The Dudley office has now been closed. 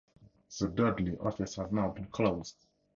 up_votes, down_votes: 2, 0